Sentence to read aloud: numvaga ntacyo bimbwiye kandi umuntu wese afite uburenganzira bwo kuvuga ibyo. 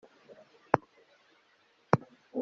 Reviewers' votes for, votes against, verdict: 0, 2, rejected